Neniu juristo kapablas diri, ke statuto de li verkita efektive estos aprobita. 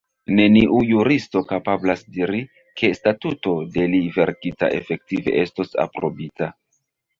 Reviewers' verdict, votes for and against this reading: rejected, 0, 2